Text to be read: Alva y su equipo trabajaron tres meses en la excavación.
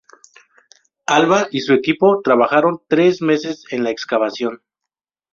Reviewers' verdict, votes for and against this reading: accepted, 2, 0